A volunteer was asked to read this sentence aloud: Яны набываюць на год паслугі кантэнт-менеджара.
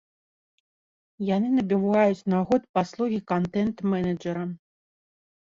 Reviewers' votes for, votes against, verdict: 2, 1, accepted